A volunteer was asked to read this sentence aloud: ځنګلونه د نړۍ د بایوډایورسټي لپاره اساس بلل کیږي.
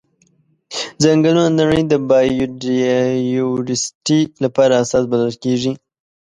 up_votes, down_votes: 2, 1